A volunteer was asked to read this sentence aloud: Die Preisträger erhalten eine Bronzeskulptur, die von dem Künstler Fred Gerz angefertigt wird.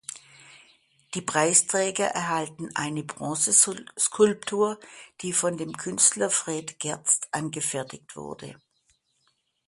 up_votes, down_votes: 0, 2